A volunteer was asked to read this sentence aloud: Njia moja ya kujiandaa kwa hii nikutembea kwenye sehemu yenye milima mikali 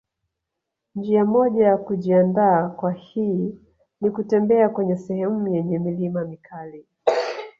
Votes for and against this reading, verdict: 1, 2, rejected